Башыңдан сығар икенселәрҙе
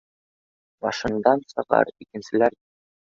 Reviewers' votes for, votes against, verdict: 0, 2, rejected